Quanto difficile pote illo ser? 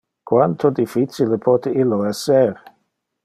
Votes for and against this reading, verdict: 0, 2, rejected